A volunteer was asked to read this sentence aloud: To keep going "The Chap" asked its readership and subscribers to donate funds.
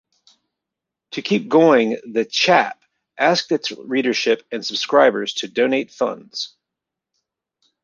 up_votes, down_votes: 2, 0